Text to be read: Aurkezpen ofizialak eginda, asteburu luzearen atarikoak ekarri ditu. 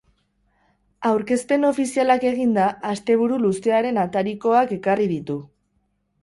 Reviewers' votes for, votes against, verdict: 4, 0, accepted